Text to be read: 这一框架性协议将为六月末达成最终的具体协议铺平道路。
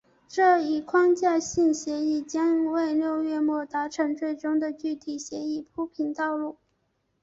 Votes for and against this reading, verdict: 1, 2, rejected